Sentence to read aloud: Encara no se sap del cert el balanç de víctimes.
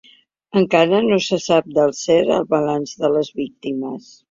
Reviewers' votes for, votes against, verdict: 1, 3, rejected